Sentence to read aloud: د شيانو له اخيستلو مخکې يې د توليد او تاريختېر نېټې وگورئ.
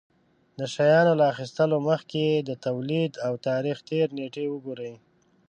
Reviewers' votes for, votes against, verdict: 2, 0, accepted